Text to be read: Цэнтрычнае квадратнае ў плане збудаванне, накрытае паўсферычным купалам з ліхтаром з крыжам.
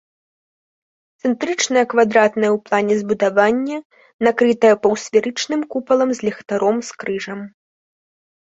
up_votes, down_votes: 3, 0